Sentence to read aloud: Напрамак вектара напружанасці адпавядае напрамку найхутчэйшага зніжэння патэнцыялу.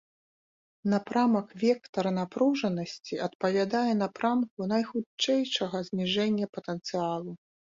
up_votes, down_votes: 2, 0